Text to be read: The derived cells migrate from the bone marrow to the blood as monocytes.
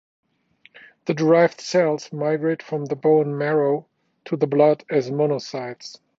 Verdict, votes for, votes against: accepted, 2, 0